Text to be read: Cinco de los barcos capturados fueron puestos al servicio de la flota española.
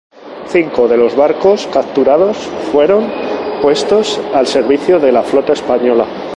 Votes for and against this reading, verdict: 2, 0, accepted